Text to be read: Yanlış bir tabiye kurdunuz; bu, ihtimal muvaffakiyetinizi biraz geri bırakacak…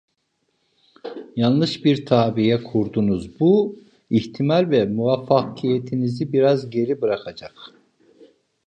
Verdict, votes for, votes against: rejected, 1, 2